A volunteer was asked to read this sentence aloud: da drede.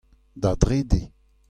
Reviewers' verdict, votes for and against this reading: accepted, 2, 0